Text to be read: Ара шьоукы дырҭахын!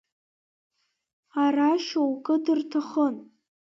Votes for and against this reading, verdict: 2, 1, accepted